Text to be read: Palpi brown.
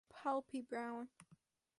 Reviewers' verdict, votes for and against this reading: accepted, 4, 0